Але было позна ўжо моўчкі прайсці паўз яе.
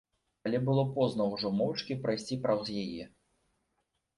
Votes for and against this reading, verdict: 0, 2, rejected